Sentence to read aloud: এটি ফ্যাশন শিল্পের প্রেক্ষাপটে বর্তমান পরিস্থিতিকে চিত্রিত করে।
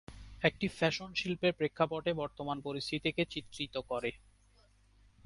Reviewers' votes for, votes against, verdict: 4, 2, accepted